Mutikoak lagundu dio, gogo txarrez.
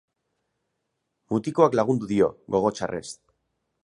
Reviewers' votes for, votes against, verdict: 4, 0, accepted